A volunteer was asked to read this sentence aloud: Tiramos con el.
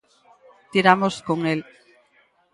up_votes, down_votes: 4, 0